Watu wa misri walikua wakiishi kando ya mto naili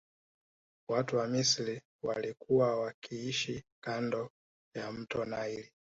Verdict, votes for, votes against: rejected, 1, 2